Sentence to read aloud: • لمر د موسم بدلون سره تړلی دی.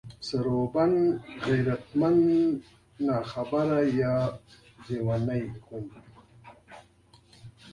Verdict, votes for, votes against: rejected, 0, 3